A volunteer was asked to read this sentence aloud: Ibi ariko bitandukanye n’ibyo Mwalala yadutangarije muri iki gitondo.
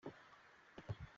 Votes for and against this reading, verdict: 0, 4, rejected